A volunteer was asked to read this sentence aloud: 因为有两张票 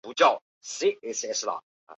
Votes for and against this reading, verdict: 2, 3, rejected